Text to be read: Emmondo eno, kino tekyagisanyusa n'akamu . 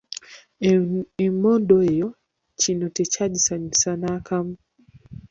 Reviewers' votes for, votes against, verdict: 1, 2, rejected